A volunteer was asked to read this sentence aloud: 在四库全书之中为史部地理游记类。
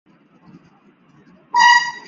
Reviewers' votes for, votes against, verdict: 0, 4, rejected